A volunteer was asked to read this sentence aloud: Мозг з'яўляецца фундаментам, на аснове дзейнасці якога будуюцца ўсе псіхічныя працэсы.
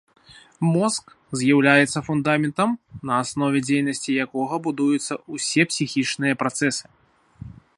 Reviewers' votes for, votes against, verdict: 0, 2, rejected